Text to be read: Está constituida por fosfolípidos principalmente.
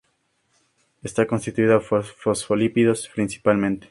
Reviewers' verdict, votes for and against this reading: accepted, 2, 0